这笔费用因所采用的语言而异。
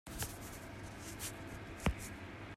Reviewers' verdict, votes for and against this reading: rejected, 0, 2